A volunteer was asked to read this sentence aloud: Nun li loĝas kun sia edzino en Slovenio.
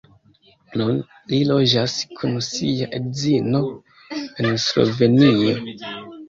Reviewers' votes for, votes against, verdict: 2, 0, accepted